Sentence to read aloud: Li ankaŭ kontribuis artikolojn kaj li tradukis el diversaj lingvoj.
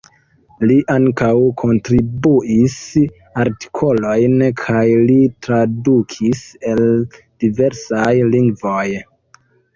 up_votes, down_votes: 3, 0